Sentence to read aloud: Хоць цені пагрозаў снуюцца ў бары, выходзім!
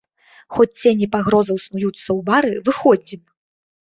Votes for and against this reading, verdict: 2, 0, accepted